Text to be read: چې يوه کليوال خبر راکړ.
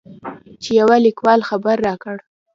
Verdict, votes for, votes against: rejected, 0, 2